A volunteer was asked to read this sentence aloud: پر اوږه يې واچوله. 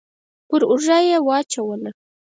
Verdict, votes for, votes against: rejected, 2, 4